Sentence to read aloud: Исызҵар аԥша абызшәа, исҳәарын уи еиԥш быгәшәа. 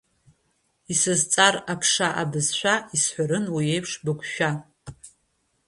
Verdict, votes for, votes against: accepted, 2, 0